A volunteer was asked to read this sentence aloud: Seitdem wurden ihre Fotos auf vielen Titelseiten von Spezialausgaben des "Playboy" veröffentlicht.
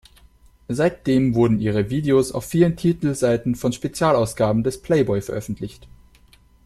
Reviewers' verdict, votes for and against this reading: rejected, 0, 2